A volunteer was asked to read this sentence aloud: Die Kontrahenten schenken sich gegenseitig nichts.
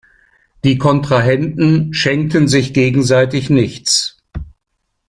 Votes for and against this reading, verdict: 0, 2, rejected